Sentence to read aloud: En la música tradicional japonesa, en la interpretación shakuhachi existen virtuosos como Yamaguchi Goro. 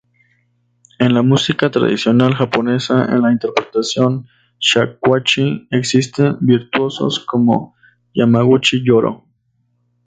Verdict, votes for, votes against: rejected, 0, 2